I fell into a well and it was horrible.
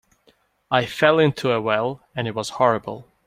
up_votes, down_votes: 2, 0